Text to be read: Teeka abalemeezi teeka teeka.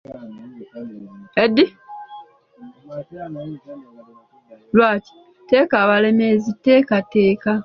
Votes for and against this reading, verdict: 0, 2, rejected